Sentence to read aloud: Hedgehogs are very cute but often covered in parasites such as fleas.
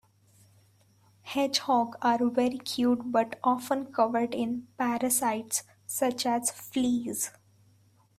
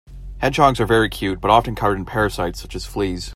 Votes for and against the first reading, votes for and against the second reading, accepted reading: 1, 2, 2, 0, second